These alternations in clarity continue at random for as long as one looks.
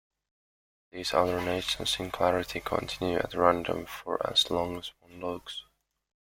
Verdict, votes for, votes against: rejected, 0, 2